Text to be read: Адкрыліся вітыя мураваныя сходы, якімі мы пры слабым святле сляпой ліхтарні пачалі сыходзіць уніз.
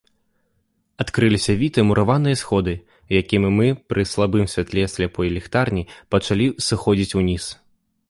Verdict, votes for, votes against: accepted, 2, 0